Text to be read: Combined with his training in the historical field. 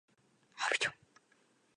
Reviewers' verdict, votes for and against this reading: rejected, 0, 2